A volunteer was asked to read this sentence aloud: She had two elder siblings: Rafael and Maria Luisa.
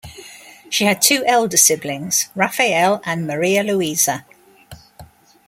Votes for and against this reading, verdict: 2, 0, accepted